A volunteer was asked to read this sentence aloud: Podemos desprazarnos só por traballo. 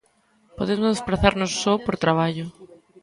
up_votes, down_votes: 0, 2